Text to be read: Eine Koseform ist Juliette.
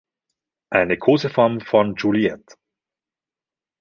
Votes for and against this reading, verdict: 0, 2, rejected